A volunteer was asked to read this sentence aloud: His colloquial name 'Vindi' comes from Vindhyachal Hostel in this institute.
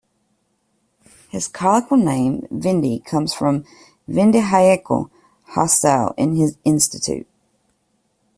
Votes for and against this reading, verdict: 0, 2, rejected